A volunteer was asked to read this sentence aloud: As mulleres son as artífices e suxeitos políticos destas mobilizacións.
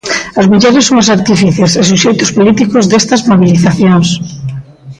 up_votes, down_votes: 1, 2